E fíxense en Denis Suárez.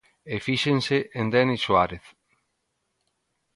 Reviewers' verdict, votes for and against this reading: accepted, 2, 0